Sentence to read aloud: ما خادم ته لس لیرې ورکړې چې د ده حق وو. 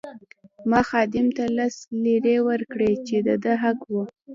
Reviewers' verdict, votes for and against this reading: rejected, 1, 2